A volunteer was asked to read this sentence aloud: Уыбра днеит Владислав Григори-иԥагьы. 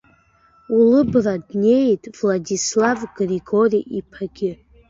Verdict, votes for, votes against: accepted, 2, 1